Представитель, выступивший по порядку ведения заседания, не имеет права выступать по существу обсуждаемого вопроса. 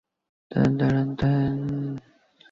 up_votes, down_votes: 0, 2